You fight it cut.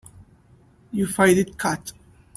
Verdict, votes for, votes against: rejected, 1, 2